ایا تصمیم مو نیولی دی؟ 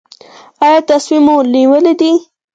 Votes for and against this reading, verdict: 2, 4, rejected